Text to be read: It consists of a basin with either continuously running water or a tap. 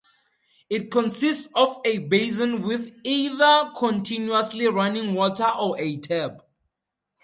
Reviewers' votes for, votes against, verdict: 4, 0, accepted